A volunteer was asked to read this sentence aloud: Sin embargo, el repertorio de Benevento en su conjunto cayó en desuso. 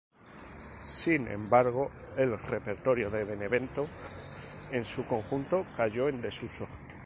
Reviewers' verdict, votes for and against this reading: accepted, 2, 0